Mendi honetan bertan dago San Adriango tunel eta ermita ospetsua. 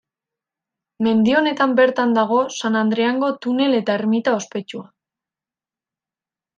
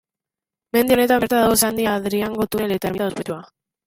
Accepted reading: first